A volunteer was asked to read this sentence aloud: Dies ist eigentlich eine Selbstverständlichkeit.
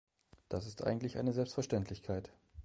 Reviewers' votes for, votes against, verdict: 1, 2, rejected